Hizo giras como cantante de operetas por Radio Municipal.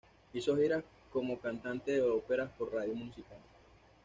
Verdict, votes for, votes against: rejected, 1, 2